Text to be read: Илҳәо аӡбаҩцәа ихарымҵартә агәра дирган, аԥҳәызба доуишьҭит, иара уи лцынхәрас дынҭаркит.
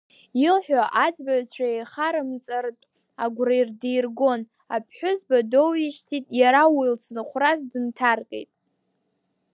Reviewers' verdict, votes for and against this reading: rejected, 1, 2